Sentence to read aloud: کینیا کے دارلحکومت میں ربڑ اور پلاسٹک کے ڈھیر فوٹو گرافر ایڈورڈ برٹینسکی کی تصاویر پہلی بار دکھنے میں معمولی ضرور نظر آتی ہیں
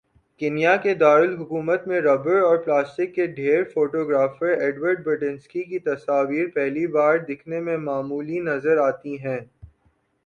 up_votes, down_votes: 2, 0